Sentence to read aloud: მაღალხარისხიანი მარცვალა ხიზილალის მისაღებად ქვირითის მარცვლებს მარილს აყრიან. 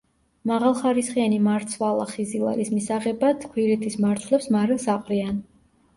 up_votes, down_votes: 2, 0